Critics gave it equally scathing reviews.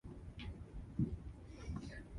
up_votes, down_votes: 0, 2